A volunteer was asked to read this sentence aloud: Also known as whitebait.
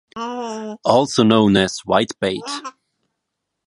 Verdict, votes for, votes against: rejected, 0, 2